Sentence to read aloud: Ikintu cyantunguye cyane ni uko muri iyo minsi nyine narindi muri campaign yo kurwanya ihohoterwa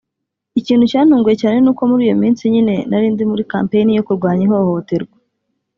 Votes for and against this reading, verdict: 3, 0, accepted